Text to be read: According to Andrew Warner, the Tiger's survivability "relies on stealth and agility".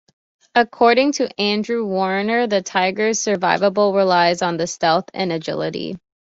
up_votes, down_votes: 2, 1